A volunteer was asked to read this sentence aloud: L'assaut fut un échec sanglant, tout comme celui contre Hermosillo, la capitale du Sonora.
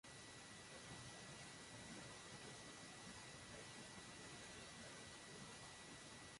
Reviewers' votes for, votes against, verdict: 0, 2, rejected